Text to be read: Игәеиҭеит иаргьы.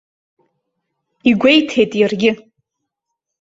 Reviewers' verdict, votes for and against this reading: accepted, 2, 0